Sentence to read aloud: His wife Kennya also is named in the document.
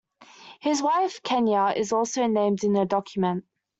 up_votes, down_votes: 2, 1